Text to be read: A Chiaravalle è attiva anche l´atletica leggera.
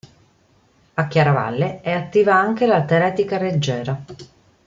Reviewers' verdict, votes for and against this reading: rejected, 0, 2